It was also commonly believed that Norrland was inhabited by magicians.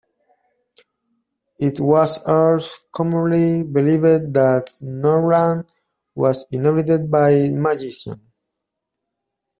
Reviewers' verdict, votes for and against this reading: rejected, 1, 2